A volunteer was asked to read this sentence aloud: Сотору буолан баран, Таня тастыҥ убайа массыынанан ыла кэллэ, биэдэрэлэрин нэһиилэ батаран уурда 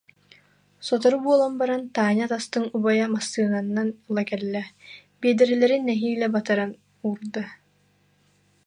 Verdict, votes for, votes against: rejected, 0, 2